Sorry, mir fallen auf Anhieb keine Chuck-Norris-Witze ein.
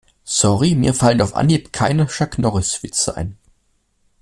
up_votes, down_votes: 2, 0